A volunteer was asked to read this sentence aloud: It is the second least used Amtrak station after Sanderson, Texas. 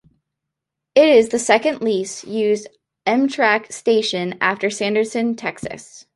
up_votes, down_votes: 2, 0